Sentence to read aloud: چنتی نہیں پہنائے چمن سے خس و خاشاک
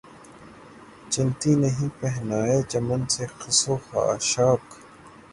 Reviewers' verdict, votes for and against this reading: accepted, 3, 0